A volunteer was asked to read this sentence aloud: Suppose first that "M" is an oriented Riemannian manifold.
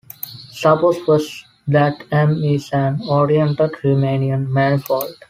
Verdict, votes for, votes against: accepted, 2, 0